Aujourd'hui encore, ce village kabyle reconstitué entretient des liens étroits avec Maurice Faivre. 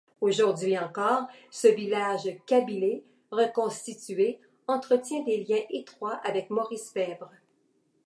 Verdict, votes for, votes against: rejected, 1, 2